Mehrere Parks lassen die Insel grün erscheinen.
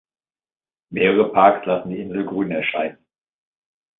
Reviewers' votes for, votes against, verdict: 2, 0, accepted